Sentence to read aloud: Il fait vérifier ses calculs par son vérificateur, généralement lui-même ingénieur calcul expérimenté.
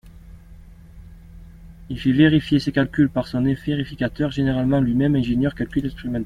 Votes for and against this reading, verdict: 0, 2, rejected